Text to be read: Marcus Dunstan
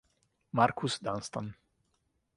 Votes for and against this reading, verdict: 2, 0, accepted